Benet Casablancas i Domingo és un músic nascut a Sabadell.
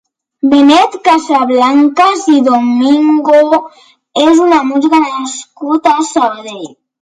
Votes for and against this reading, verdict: 0, 2, rejected